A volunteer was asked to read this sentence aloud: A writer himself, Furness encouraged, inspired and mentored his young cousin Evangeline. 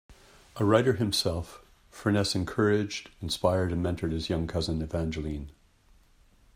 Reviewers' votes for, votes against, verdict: 2, 0, accepted